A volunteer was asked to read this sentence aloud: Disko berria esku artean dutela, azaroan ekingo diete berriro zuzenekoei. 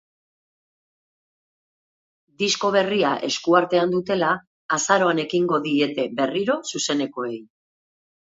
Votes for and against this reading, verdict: 2, 0, accepted